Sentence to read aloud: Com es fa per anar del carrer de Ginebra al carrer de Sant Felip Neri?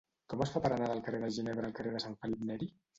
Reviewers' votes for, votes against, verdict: 2, 0, accepted